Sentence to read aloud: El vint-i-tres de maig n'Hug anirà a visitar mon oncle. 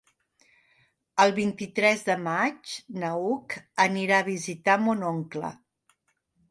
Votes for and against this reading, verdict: 0, 2, rejected